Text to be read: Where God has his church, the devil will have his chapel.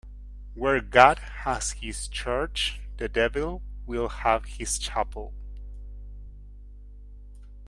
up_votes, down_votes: 1, 2